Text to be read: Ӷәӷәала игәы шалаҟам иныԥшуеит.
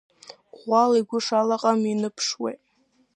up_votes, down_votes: 2, 0